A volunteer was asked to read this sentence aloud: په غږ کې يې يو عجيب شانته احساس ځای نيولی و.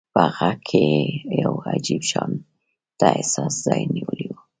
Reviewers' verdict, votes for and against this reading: accepted, 2, 0